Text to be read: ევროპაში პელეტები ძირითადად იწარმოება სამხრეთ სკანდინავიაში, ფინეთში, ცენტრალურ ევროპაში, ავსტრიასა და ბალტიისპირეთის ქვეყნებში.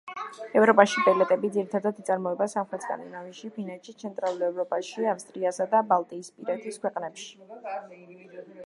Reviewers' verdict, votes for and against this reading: accepted, 2, 1